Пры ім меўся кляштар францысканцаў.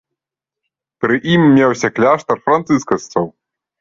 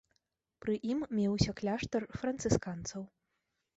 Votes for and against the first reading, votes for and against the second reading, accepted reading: 1, 3, 2, 0, second